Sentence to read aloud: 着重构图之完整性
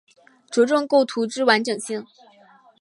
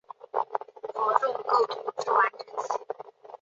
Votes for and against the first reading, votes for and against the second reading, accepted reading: 5, 0, 2, 6, first